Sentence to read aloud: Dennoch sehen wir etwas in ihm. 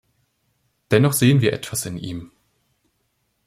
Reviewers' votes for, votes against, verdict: 2, 0, accepted